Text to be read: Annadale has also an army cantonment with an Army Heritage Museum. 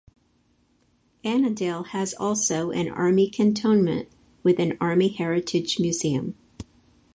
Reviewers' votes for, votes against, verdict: 4, 0, accepted